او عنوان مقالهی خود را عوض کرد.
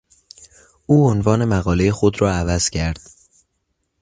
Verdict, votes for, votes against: accepted, 2, 0